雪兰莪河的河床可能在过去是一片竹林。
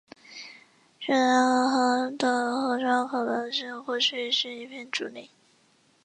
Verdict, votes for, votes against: rejected, 1, 2